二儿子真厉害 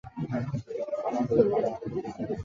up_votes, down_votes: 0, 2